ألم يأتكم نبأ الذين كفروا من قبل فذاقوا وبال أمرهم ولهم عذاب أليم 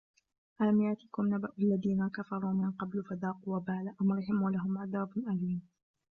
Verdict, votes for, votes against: accepted, 2, 0